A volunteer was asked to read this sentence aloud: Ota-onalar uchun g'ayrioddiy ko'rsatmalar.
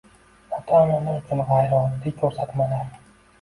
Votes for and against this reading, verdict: 2, 0, accepted